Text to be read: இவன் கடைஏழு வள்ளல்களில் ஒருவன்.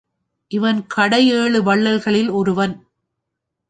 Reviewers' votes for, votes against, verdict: 2, 0, accepted